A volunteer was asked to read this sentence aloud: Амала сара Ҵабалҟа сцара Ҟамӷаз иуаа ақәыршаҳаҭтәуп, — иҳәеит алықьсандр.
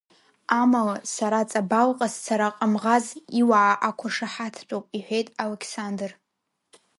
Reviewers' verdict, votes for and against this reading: accepted, 2, 1